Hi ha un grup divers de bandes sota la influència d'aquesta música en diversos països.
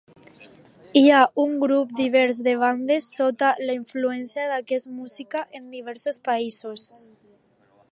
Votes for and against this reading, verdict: 0, 2, rejected